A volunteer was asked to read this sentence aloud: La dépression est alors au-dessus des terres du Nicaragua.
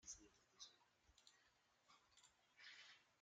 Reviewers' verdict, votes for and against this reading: rejected, 0, 2